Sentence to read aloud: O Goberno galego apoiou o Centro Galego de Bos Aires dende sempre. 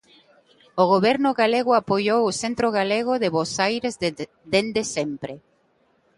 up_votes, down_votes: 2, 1